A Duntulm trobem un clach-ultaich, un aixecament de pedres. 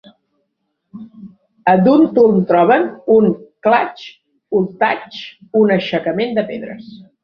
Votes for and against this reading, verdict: 1, 2, rejected